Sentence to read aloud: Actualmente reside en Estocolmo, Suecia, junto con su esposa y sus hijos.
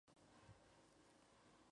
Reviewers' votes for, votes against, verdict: 0, 2, rejected